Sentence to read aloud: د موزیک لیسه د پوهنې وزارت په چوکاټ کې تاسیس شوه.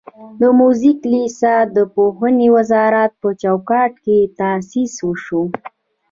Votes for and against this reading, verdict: 1, 2, rejected